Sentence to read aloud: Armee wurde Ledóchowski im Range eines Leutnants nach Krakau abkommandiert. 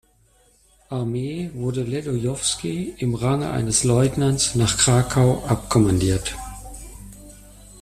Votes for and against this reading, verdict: 0, 2, rejected